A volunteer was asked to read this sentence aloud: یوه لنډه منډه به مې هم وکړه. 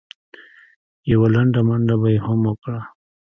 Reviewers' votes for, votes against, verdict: 0, 2, rejected